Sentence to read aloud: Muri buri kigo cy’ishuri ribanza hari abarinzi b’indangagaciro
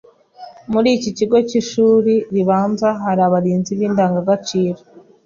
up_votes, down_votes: 2, 1